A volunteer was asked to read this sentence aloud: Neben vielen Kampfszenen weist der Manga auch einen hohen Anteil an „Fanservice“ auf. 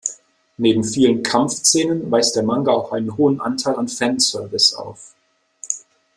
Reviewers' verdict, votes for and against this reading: accepted, 2, 0